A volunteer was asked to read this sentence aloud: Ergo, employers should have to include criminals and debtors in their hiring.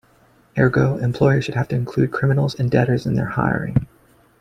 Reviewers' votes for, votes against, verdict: 2, 0, accepted